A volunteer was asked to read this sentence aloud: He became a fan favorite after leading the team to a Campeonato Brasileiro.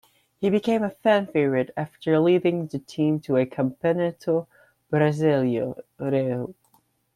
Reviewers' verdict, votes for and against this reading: rejected, 0, 2